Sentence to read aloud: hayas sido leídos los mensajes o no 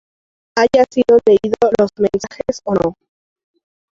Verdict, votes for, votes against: rejected, 2, 2